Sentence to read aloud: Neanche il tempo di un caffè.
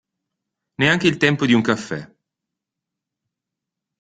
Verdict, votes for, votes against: accepted, 2, 0